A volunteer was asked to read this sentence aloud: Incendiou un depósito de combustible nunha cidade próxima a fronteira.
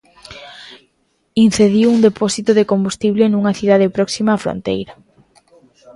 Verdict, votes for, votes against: rejected, 1, 2